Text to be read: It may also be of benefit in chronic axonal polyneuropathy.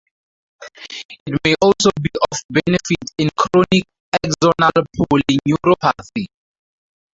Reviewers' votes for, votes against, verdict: 4, 6, rejected